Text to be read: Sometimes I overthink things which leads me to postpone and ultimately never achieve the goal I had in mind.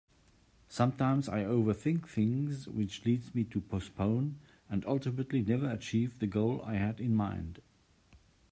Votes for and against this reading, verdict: 2, 0, accepted